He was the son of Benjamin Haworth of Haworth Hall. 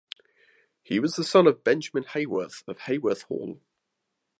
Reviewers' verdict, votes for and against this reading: accepted, 2, 0